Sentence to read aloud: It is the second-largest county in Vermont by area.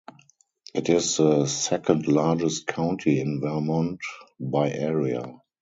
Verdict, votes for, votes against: accepted, 2, 0